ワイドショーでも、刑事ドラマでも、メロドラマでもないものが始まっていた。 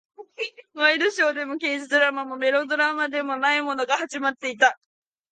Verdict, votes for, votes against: rejected, 0, 2